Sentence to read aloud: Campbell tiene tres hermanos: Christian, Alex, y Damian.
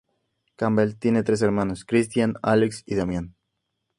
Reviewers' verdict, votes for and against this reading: accepted, 2, 0